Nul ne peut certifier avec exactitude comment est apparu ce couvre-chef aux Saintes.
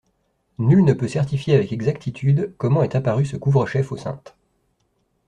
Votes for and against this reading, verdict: 2, 0, accepted